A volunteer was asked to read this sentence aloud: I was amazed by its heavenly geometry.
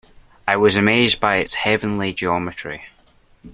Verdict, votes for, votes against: accepted, 2, 0